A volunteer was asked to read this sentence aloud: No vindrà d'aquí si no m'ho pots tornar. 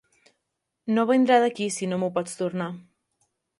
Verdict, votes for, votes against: accepted, 3, 0